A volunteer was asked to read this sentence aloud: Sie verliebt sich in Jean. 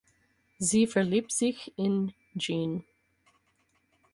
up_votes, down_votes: 4, 0